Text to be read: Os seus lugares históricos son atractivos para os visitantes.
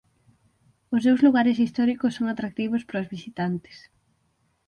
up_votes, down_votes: 6, 0